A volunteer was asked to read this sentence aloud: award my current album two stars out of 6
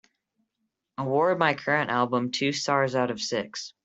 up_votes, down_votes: 0, 2